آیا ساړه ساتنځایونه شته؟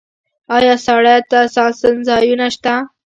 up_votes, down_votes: 1, 2